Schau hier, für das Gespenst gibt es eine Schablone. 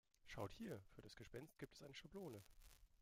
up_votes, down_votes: 2, 1